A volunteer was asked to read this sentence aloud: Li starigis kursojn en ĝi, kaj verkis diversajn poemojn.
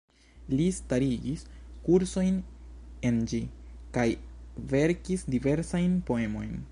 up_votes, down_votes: 2, 0